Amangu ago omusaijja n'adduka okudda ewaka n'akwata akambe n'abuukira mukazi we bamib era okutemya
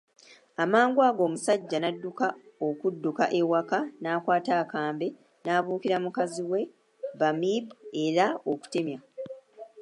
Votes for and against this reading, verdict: 2, 0, accepted